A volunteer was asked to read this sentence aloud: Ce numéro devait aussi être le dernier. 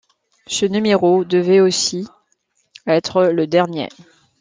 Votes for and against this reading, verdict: 2, 0, accepted